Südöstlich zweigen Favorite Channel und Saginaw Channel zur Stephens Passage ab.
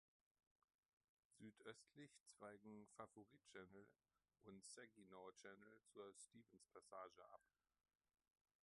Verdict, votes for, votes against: rejected, 0, 2